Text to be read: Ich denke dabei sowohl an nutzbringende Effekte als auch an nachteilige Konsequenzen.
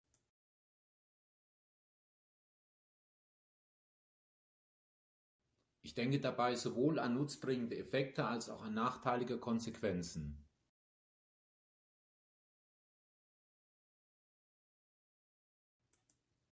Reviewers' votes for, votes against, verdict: 3, 0, accepted